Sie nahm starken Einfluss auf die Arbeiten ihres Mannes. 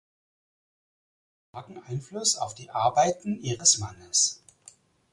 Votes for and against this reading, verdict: 0, 4, rejected